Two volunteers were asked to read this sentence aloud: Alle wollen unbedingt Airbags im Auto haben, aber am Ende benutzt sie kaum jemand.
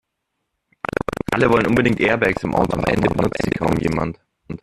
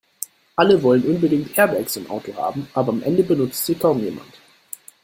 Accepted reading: second